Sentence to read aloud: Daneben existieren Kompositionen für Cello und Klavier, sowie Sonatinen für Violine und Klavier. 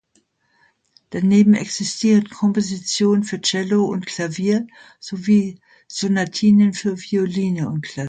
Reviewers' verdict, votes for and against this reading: rejected, 2, 3